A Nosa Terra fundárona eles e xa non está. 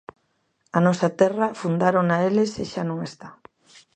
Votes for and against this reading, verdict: 2, 0, accepted